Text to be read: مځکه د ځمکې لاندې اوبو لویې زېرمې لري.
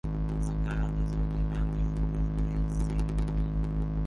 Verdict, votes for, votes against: rejected, 1, 2